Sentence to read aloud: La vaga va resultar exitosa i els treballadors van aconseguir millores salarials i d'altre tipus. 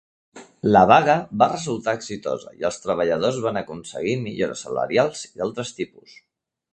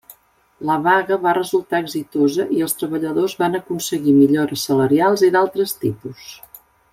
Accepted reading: second